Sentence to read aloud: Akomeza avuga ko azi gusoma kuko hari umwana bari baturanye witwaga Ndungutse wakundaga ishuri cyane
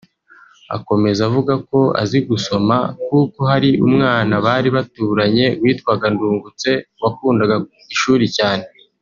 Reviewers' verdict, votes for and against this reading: rejected, 0, 2